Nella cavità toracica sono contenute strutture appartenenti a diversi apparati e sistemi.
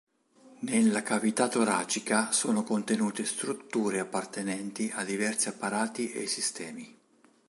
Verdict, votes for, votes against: accepted, 2, 0